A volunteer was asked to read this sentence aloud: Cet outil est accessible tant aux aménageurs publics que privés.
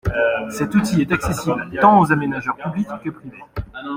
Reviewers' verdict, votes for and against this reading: accepted, 2, 0